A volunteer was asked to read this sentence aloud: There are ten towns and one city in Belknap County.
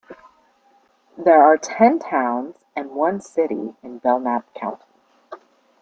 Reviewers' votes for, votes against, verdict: 2, 3, rejected